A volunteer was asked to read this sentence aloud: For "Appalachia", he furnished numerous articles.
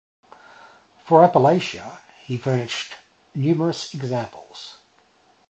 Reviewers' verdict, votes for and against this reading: rejected, 0, 2